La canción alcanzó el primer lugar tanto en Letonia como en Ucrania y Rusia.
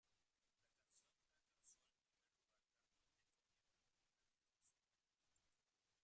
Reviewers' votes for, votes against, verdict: 0, 2, rejected